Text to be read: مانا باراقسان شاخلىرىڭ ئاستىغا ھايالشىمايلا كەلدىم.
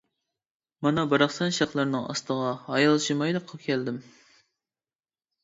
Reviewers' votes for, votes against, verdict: 1, 2, rejected